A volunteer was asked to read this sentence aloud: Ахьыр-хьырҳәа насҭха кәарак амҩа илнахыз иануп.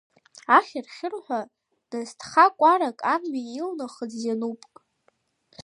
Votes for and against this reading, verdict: 3, 0, accepted